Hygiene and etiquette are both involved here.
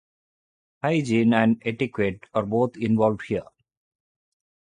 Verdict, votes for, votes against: accepted, 4, 0